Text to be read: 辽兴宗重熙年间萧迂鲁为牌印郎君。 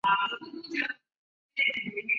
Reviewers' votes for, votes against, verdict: 1, 2, rejected